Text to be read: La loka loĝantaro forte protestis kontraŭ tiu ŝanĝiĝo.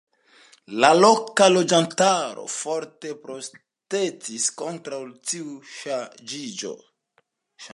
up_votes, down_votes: 1, 2